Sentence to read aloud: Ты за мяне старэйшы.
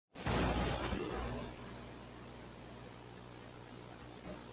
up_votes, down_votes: 0, 2